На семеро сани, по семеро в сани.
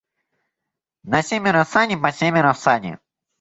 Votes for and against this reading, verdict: 1, 2, rejected